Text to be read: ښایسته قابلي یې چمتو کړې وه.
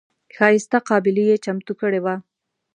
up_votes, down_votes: 2, 0